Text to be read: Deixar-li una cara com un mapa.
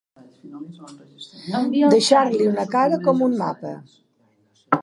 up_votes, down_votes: 2, 1